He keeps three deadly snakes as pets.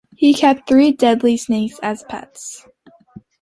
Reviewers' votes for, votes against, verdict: 2, 0, accepted